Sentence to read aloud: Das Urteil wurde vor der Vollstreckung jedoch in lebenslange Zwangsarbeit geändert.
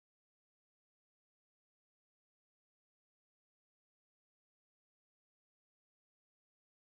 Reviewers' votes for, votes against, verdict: 0, 2, rejected